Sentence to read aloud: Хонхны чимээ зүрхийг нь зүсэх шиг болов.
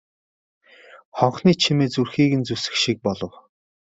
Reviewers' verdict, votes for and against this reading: accepted, 2, 0